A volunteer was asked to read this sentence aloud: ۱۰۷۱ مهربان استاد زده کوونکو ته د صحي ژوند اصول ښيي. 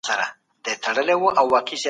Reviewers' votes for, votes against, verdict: 0, 2, rejected